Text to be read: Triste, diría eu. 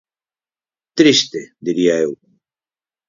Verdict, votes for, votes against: accepted, 4, 0